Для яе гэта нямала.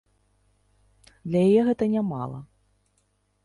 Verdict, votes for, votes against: accepted, 3, 0